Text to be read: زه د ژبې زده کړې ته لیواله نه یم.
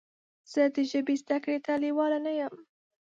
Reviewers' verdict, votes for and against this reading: accepted, 2, 0